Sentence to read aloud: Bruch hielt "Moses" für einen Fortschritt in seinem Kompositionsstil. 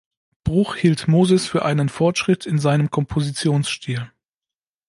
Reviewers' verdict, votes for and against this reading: accepted, 2, 0